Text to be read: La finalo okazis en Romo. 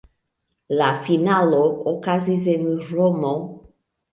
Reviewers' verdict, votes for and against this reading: rejected, 1, 2